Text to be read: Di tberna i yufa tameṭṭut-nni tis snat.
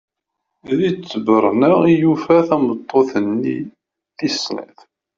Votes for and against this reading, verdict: 1, 2, rejected